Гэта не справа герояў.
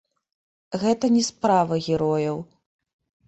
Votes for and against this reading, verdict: 0, 2, rejected